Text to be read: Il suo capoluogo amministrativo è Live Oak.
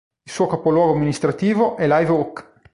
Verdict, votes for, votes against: accepted, 2, 0